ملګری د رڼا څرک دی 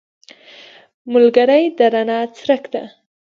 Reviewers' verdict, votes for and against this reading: rejected, 1, 2